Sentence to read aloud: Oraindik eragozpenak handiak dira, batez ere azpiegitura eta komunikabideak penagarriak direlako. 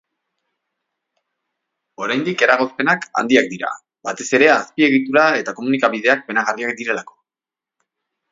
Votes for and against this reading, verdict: 2, 0, accepted